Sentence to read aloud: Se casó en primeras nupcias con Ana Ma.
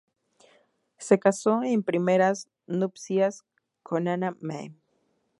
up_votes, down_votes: 0, 2